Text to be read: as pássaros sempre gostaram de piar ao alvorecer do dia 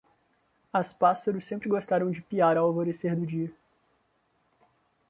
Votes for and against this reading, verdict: 0, 2, rejected